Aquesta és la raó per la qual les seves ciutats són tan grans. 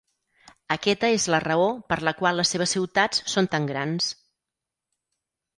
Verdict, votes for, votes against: rejected, 2, 4